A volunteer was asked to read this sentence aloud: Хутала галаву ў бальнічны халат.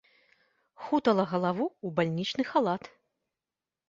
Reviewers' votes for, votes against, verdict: 2, 0, accepted